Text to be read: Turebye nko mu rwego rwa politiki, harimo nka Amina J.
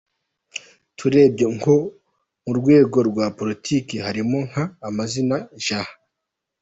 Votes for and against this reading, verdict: 1, 2, rejected